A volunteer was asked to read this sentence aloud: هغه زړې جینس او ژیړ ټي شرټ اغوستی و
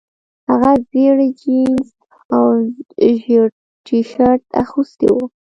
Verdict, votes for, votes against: rejected, 1, 2